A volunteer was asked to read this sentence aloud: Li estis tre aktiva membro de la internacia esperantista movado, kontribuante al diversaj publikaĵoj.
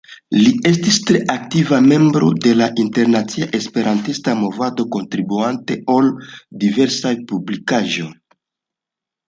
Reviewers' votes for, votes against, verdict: 1, 2, rejected